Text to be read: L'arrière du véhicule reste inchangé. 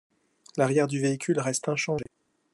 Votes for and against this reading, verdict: 0, 2, rejected